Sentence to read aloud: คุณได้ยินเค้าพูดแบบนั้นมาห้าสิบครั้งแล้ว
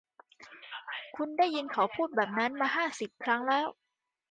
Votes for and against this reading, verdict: 0, 2, rejected